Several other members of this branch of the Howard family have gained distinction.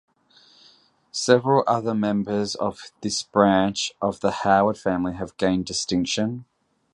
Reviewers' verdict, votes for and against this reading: accepted, 2, 0